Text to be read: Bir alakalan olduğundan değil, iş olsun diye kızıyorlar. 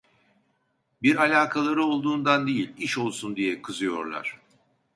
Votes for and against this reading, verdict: 1, 2, rejected